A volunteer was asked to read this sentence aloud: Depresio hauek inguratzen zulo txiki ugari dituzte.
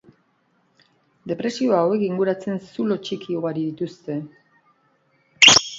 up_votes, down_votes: 2, 1